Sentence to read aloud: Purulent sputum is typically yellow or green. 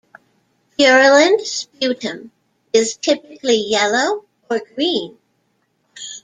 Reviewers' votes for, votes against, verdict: 2, 0, accepted